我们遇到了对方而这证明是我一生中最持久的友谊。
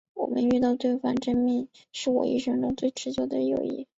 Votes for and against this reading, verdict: 3, 0, accepted